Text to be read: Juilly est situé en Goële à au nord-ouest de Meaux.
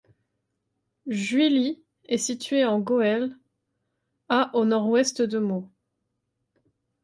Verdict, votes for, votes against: accepted, 2, 0